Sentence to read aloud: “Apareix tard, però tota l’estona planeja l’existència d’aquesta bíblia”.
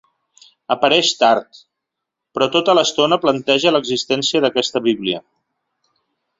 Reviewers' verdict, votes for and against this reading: rejected, 1, 2